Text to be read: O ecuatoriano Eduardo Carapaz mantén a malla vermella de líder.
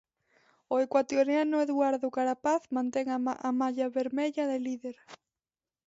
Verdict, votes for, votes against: rejected, 1, 2